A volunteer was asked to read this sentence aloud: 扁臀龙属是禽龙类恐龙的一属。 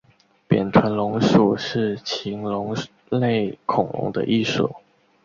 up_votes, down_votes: 2, 0